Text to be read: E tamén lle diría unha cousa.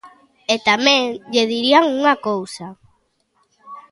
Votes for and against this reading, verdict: 2, 1, accepted